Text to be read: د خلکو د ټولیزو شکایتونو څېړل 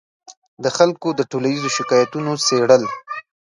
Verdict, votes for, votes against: rejected, 1, 2